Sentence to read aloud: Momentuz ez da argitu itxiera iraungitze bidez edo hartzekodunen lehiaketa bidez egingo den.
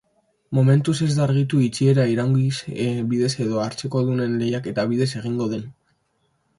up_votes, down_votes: 0, 2